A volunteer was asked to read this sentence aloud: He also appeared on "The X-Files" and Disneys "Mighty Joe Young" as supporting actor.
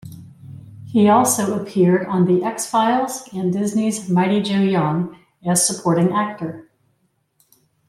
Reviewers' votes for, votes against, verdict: 2, 0, accepted